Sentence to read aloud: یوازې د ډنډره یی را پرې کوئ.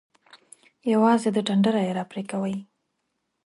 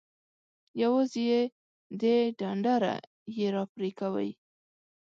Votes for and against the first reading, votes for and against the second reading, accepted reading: 2, 0, 0, 2, first